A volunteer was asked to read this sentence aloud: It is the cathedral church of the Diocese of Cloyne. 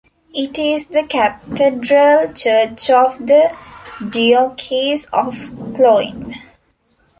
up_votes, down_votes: 0, 2